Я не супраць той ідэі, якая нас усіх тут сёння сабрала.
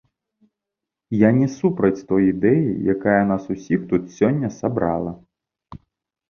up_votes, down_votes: 2, 0